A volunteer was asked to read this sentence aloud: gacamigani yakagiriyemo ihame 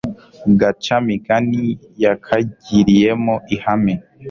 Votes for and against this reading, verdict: 2, 0, accepted